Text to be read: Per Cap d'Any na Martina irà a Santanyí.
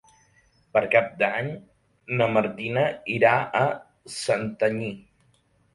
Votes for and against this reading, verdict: 2, 0, accepted